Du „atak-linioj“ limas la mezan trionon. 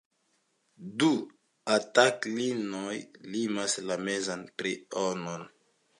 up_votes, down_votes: 1, 2